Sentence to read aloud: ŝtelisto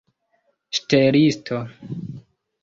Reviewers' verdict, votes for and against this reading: accepted, 2, 1